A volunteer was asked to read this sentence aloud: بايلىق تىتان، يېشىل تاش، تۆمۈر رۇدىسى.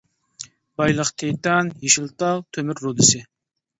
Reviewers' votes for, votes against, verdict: 0, 2, rejected